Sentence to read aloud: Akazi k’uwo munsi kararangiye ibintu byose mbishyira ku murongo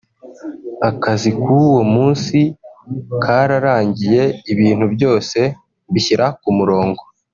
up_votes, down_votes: 2, 0